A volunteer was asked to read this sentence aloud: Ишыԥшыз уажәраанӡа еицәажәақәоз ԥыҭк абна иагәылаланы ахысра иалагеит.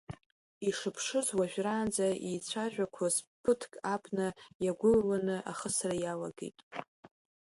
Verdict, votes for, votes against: accepted, 3, 1